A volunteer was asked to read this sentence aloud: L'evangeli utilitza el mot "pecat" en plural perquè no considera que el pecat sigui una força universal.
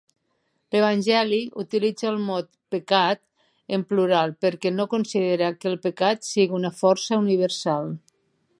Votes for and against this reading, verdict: 3, 0, accepted